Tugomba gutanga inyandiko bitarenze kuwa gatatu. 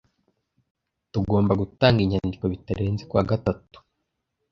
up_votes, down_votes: 2, 0